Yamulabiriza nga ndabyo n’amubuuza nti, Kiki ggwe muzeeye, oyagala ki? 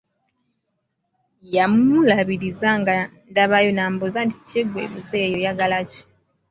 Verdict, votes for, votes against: rejected, 1, 2